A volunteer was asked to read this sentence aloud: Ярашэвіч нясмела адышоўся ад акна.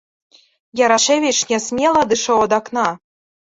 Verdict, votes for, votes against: rejected, 0, 2